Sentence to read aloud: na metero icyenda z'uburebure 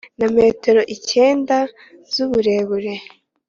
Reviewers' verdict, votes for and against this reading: accepted, 2, 0